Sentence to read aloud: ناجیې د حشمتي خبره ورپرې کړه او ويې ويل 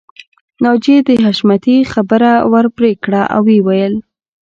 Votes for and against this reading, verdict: 2, 0, accepted